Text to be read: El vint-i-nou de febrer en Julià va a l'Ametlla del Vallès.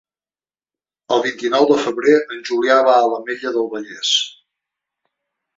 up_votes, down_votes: 3, 0